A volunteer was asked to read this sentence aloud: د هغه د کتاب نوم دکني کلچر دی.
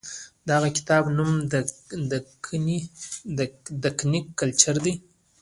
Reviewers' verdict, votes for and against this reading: accepted, 2, 0